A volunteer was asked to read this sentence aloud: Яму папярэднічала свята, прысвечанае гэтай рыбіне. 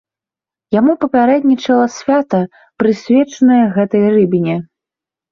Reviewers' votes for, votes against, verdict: 1, 2, rejected